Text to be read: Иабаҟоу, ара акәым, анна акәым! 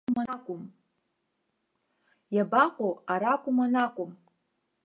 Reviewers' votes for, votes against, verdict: 0, 2, rejected